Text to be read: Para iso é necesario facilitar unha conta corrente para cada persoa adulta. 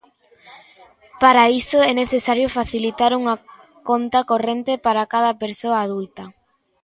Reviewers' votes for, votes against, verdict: 2, 0, accepted